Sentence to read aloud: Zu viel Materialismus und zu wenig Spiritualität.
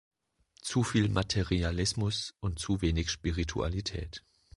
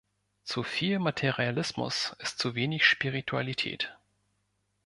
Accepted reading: first